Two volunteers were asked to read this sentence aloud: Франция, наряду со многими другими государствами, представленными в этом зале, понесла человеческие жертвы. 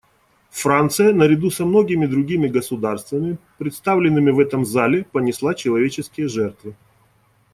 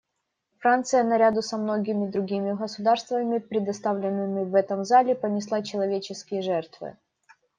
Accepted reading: first